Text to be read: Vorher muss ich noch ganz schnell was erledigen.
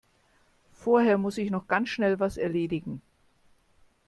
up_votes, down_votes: 2, 0